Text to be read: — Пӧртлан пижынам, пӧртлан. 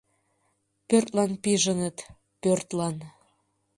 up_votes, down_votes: 1, 2